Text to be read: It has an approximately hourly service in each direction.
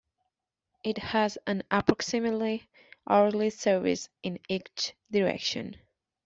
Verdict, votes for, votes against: accepted, 2, 1